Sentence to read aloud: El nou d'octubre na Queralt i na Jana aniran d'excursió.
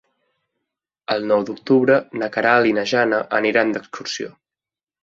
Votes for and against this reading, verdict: 2, 0, accepted